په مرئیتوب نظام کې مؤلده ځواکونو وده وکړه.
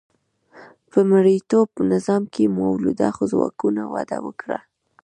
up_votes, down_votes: 2, 0